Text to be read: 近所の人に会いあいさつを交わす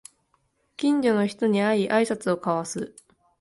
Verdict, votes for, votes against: accepted, 5, 0